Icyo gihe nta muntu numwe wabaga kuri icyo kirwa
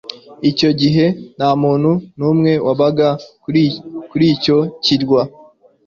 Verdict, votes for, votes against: rejected, 1, 2